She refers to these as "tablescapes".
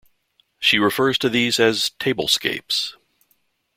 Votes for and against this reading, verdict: 2, 0, accepted